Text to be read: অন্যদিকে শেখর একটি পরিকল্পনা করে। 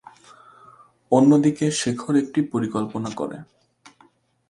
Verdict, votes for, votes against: accepted, 2, 0